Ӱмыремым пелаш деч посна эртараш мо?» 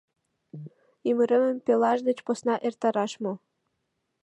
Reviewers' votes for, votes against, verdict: 2, 0, accepted